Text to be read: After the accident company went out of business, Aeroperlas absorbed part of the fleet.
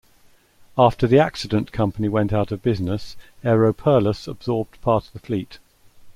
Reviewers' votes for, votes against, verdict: 2, 0, accepted